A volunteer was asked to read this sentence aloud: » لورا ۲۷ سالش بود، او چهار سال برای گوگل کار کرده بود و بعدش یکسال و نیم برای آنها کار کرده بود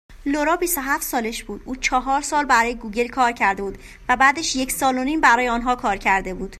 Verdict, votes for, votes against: rejected, 0, 2